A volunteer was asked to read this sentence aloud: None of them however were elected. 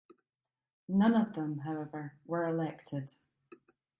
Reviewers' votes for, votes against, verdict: 2, 0, accepted